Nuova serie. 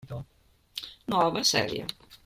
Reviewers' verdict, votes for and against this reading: accepted, 2, 0